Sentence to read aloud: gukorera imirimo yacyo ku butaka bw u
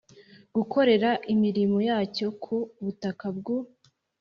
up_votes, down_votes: 5, 0